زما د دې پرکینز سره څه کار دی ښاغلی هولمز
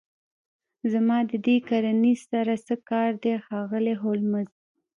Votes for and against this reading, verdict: 1, 2, rejected